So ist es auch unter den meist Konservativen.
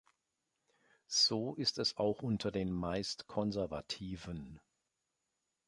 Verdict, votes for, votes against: accepted, 2, 0